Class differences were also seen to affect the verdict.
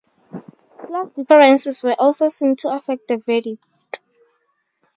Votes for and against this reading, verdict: 2, 0, accepted